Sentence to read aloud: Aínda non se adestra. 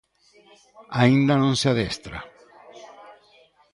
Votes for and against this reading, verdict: 1, 2, rejected